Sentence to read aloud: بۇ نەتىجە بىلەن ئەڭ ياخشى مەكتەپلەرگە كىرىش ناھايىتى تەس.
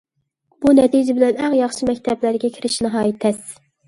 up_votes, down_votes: 2, 0